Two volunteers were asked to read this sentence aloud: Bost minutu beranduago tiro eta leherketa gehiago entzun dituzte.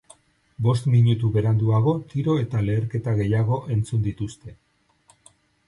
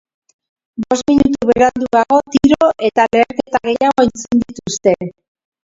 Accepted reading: first